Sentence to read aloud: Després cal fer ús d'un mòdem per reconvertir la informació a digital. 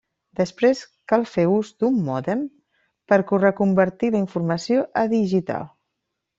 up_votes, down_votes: 1, 2